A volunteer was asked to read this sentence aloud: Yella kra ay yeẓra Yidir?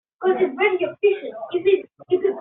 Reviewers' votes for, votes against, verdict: 0, 2, rejected